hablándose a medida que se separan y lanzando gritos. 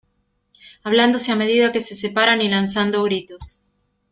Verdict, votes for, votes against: accepted, 2, 0